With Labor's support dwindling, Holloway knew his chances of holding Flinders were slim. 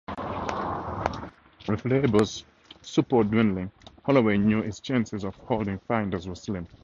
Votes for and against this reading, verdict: 0, 4, rejected